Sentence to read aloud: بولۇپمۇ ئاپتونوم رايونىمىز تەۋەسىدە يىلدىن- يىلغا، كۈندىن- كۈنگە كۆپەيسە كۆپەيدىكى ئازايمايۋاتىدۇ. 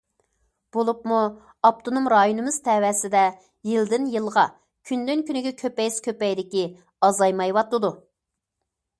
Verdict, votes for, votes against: accepted, 2, 0